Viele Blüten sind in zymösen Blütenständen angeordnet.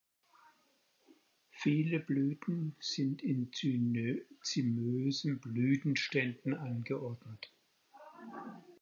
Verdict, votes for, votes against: rejected, 0, 4